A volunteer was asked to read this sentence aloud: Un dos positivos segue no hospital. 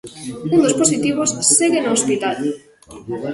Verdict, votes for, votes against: rejected, 1, 2